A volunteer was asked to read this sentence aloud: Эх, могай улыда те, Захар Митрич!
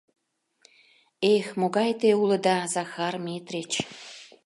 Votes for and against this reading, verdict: 0, 2, rejected